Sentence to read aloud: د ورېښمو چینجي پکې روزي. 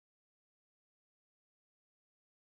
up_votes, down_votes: 1, 2